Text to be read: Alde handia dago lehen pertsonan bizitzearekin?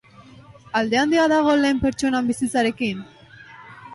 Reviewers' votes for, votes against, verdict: 2, 5, rejected